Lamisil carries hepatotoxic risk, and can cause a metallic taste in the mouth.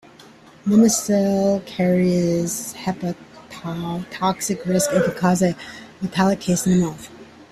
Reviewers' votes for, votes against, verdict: 0, 2, rejected